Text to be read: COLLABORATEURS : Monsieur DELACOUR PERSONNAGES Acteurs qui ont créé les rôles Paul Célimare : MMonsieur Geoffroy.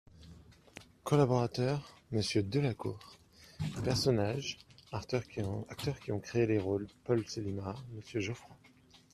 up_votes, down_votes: 1, 2